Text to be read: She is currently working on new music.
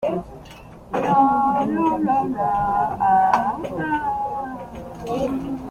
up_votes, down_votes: 0, 2